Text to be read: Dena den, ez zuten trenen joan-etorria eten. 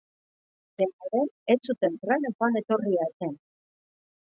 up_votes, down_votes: 1, 2